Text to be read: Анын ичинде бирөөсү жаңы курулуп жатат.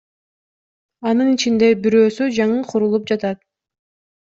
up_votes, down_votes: 2, 0